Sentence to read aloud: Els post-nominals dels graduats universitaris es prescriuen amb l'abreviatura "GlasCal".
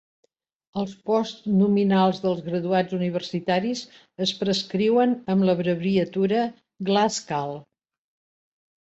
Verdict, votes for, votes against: accepted, 2, 0